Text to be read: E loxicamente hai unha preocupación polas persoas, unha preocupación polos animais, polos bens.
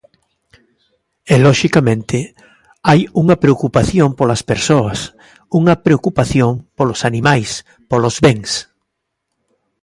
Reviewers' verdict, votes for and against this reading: accepted, 2, 0